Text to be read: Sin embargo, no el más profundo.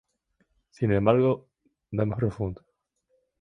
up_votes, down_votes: 2, 2